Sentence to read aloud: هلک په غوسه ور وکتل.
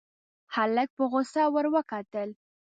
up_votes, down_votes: 2, 0